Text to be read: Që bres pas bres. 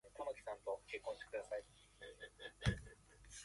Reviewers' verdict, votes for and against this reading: rejected, 0, 2